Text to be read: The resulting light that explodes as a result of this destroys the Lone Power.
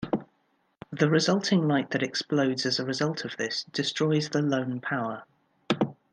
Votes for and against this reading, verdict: 2, 0, accepted